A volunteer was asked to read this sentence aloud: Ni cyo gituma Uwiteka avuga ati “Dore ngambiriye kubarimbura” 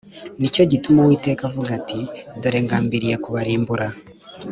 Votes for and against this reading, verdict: 2, 0, accepted